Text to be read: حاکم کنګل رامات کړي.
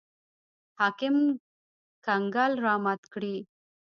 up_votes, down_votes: 1, 2